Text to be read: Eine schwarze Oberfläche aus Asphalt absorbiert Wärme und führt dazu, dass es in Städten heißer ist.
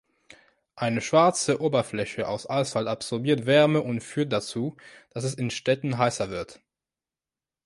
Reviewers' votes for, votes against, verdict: 0, 3, rejected